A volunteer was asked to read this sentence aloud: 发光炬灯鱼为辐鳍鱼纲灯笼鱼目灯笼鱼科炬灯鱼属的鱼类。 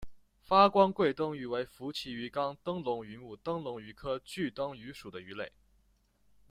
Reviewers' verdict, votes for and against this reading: accepted, 2, 1